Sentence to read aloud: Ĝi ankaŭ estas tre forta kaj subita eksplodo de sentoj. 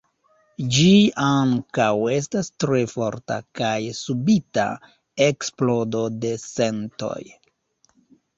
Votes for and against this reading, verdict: 2, 1, accepted